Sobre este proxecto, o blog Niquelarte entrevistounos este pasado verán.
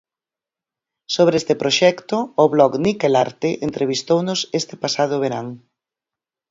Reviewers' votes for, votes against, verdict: 4, 0, accepted